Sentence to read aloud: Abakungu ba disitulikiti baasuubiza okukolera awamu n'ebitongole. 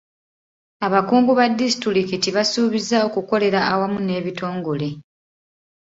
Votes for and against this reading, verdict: 2, 1, accepted